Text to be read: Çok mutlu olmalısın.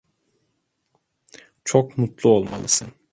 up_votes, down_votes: 2, 0